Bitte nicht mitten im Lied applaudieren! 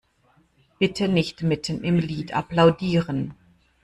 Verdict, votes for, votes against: accepted, 2, 0